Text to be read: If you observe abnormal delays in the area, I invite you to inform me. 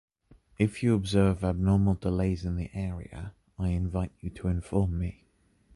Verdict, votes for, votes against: accepted, 2, 0